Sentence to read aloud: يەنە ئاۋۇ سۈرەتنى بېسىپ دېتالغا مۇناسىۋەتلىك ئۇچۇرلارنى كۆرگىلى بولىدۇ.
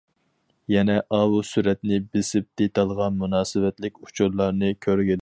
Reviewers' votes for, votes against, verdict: 0, 4, rejected